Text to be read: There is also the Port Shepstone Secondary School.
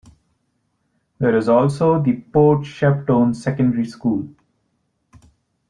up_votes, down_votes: 1, 2